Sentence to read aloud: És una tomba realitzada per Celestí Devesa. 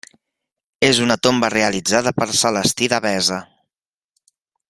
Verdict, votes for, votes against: accepted, 2, 0